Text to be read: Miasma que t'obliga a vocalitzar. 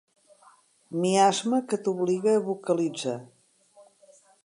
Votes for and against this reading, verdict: 3, 0, accepted